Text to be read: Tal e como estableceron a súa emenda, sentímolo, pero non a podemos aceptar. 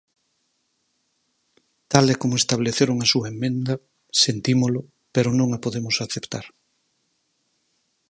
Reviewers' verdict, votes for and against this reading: rejected, 2, 4